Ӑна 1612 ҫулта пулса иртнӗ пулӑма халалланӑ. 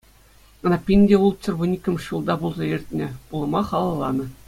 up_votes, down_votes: 0, 2